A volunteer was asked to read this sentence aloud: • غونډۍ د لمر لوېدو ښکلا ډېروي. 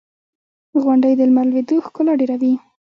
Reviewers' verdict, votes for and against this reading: accepted, 2, 0